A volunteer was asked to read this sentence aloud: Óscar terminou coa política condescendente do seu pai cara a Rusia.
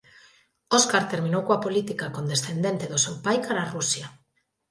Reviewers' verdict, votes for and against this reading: accepted, 2, 0